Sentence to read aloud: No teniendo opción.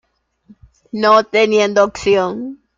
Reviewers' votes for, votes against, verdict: 2, 0, accepted